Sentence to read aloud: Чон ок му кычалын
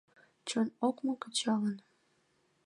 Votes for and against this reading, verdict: 2, 0, accepted